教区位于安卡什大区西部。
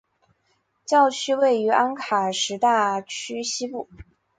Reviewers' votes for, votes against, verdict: 2, 0, accepted